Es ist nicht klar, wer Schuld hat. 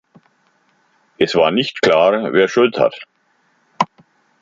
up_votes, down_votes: 0, 2